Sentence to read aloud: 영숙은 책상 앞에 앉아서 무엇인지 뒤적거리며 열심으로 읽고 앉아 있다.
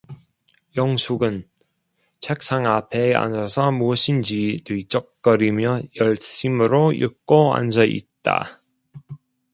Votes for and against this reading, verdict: 0, 2, rejected